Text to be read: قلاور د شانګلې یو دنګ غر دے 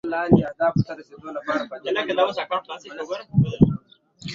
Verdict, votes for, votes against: rejected, 1, 2